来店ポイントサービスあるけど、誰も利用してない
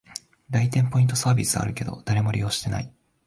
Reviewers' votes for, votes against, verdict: 2, 0, accepted